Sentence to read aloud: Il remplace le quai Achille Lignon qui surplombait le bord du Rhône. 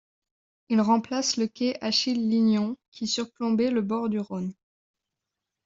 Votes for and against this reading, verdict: 2, 0, accepted